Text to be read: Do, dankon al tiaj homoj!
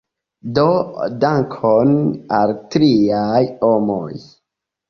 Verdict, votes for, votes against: accepted, 2, 1